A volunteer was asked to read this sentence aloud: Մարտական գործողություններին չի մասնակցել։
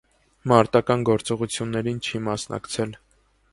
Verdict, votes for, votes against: accepted, 2, 0